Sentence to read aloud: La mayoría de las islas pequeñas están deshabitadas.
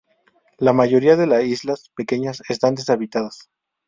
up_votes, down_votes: 2, 0